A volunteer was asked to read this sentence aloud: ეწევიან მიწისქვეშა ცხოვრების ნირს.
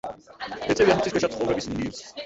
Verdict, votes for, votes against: rejected, 0, 2